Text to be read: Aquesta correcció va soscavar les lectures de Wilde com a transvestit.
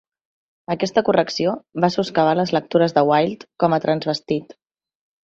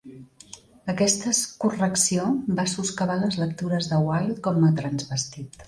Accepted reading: first